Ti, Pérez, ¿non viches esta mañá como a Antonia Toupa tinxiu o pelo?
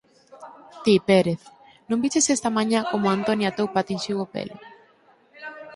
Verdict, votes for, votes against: rejected, 2, 4